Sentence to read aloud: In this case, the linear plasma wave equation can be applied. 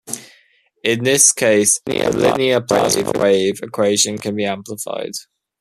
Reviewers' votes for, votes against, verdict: 0, 2, rejected